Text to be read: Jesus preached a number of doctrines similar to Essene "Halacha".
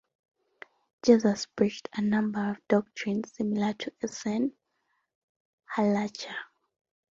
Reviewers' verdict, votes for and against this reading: rejected, 1, 2